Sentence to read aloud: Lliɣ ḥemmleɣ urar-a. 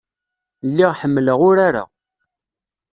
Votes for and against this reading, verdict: 2, 0, accepted